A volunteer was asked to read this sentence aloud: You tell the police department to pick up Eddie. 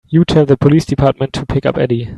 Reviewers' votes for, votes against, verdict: 3, 0, accepted